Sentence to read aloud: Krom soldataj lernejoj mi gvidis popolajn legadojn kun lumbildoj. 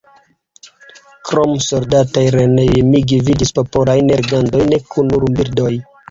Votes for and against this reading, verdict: 1, 2, rejected